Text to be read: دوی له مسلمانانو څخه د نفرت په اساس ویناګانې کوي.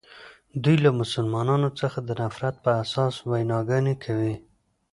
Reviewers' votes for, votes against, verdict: 2, 0, accepted